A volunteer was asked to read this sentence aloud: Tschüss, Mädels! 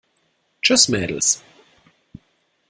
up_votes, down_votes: 2, 0